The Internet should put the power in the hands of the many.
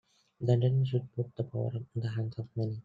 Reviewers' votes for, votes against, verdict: 0, 2, rejected